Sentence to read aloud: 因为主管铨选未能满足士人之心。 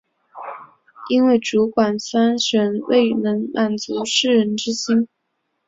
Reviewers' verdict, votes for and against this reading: accepted, 2, 0